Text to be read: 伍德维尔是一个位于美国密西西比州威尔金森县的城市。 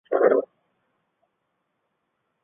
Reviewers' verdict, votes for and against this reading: rejected, 0, 2